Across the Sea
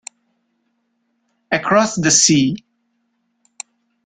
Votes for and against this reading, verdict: 2, 0, accepted